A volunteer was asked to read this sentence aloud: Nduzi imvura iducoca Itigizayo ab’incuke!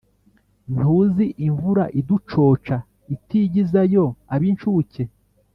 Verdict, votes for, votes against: accepted, 3, 1